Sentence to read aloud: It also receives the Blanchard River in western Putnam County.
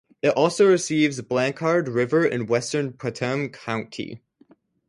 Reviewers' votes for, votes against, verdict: 4, 0, accepted